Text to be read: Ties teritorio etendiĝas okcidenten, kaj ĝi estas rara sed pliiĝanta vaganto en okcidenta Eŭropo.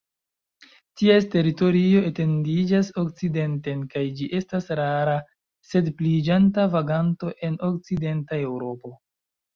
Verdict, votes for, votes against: accepted, 2, 1